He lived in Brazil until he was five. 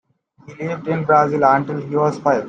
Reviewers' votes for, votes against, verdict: 1, 2, rejected